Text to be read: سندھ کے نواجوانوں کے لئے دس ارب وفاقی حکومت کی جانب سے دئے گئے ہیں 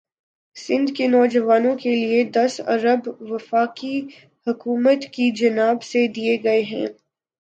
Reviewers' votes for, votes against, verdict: 3, 3, rejected